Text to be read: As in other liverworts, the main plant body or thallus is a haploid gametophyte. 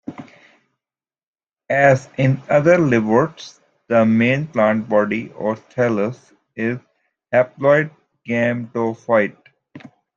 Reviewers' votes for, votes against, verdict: 2, 1, accepted